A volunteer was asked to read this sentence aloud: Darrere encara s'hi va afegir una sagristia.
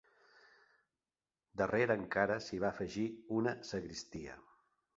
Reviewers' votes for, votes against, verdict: 2, 0, accepted